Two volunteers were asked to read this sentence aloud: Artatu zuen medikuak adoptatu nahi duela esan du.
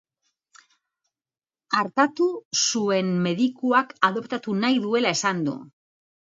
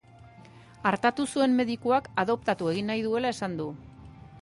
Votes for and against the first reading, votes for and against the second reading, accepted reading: 2, 0, 0, 2, first